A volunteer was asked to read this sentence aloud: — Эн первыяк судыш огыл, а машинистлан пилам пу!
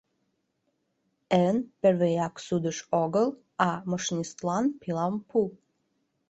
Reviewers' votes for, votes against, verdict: 1, 2, rejected